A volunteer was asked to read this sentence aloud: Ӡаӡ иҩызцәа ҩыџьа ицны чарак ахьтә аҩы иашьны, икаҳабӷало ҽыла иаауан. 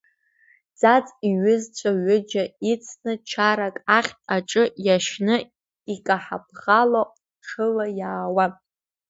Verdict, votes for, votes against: rejected, 0, 2